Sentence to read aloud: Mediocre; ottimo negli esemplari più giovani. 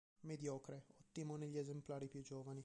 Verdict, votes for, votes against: rejected, 1, 4